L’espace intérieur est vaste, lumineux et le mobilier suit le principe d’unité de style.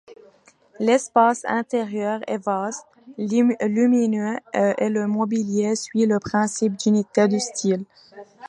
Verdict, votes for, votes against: accepted, 2, 1